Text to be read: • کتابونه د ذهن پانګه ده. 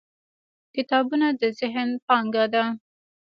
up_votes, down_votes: 0, 2